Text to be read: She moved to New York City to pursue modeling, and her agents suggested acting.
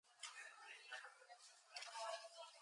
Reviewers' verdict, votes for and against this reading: rejected, 0, 4